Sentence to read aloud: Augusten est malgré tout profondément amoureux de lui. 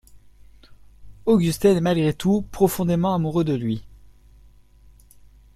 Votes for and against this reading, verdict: 2, 0, accepted